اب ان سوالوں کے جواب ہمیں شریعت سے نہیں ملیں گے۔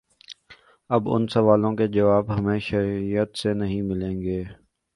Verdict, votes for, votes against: accepted, 2, 1